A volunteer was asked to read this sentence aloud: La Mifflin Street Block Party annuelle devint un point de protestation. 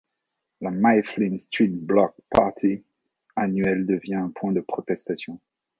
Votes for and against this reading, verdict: 1, 2, rejected